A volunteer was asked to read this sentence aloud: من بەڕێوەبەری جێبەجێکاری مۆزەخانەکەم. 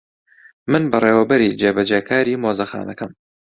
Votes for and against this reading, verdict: 2, 0, accepted